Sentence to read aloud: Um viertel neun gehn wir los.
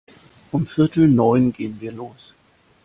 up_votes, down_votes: 2, 1